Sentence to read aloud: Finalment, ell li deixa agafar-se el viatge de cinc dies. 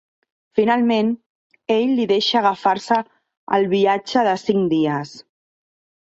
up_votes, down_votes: 1, 2